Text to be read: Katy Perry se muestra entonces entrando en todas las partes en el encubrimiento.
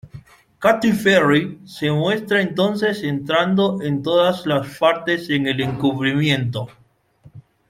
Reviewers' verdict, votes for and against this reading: rejected, 1, 2